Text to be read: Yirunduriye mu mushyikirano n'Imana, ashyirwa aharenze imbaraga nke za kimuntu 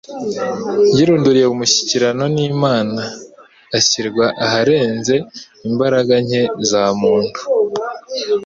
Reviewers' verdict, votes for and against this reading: rejected, 1, 2